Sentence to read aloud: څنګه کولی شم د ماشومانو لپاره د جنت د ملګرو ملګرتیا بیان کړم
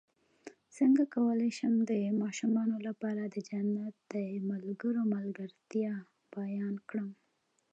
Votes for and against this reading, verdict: 2, 1, accepted